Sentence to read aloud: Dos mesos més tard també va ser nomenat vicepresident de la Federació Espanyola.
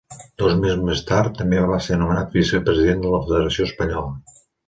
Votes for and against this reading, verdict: 2, 0, accepted